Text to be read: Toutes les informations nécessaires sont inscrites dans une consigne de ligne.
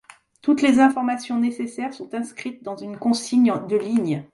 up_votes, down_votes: 1, 2